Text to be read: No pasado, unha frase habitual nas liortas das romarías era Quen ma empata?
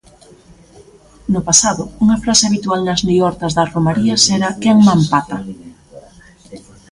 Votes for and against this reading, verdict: 1, 2, rejected